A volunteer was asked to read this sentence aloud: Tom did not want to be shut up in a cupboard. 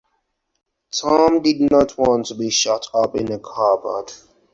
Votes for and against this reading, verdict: 2, 2, rejected